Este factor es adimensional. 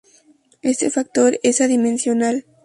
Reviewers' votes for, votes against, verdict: 2, 0, accepted